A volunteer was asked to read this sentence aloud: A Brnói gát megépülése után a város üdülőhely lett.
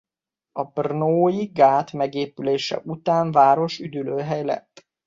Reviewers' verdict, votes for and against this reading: rejected, 1, 2